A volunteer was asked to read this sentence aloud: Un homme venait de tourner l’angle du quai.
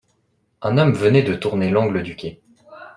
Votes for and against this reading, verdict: 2, 0, accepted